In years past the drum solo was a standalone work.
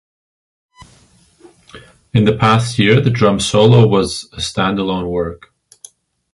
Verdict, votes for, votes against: rejected, 0, 2